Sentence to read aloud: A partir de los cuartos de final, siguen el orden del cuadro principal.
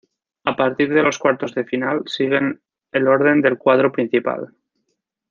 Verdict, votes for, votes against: accepted, 2, 0